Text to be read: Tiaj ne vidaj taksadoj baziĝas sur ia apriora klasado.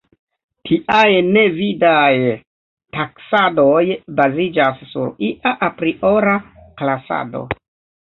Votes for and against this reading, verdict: 0, 2, rejected